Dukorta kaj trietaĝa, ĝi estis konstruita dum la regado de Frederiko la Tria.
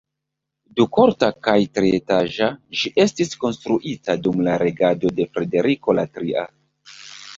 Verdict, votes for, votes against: rejected, 1, 2